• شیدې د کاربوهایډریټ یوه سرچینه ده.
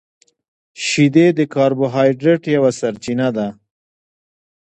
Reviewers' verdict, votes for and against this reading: accepted, 2, 1